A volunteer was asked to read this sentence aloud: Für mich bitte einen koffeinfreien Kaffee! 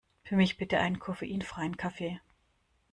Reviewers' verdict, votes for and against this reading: accepted, 2, 0